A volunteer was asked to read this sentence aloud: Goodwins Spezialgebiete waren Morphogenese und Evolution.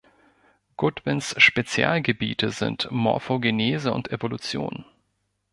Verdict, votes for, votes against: rejected, 0, 2